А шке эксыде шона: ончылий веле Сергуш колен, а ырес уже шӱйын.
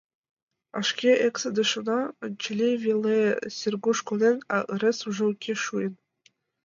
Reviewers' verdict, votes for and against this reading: rejected, 0, 2